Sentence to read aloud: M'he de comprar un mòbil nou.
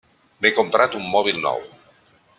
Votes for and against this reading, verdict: 0, 2, rejected